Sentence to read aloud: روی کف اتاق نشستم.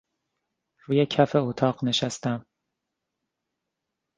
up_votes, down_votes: 2, 0